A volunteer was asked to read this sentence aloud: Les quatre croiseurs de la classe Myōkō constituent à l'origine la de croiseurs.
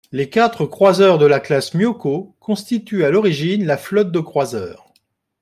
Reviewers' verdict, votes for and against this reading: rejected, 1, 2